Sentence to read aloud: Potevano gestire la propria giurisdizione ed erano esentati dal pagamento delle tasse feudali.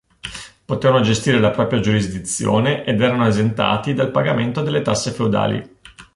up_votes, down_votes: 2, 0